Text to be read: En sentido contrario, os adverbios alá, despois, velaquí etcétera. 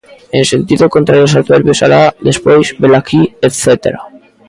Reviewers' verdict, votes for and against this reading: accepted, 2, 0